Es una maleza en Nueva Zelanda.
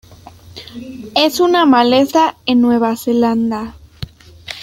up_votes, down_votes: 0, 2